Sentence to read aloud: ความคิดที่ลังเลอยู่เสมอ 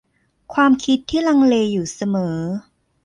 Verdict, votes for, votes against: accepted, 2, 0